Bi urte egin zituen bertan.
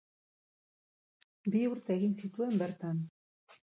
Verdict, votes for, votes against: accepted, 6, 0